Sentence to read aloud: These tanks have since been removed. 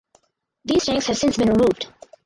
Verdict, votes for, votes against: accepted, 4, 0